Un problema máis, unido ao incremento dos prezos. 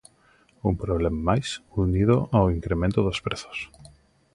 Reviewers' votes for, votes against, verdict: 2, 0, accepted